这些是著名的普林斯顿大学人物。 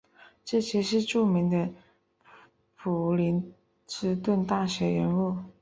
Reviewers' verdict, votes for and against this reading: accepted, 3, 0